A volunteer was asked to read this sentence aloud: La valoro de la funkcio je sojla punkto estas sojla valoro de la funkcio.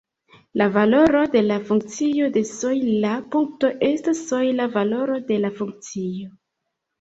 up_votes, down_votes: 2, 0